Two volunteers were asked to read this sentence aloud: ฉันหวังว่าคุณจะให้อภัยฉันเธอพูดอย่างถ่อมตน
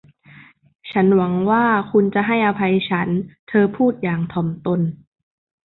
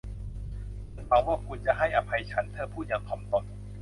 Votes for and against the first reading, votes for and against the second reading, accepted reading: 2, 0, 1, 2, first